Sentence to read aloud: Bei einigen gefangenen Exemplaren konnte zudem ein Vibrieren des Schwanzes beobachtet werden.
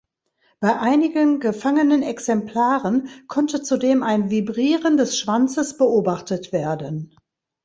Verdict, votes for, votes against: accepted, 3, 0